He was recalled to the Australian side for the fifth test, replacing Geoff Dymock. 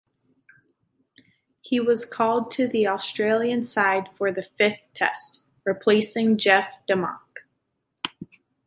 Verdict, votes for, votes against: rejected, 1, 2